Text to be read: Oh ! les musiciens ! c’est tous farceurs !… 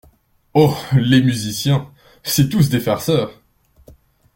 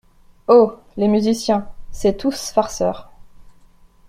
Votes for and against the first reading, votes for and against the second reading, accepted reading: 1, 2, 2, 1, second